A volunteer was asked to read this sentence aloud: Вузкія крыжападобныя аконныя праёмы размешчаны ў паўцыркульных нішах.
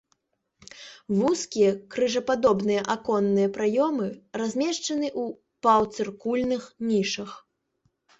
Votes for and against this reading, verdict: 1, 2, rejected